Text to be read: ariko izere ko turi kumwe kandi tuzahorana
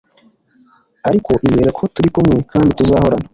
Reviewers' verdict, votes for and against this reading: accepted, 2, 1